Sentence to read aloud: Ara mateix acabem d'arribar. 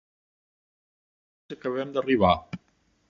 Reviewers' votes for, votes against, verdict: 0, 2, rejected